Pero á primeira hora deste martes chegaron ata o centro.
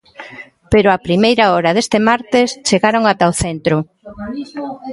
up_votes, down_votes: 2, 0